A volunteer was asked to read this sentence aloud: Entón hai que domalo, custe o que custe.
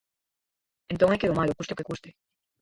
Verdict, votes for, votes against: rejected, 2, 4